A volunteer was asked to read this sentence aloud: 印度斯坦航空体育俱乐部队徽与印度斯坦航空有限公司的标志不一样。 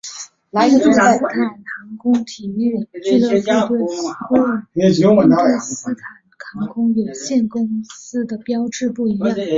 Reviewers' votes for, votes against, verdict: 0, 2, rejected